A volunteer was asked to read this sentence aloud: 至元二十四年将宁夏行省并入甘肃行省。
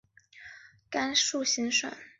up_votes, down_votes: 1, 3